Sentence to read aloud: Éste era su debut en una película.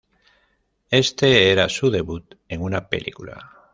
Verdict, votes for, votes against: rejected, 1, 2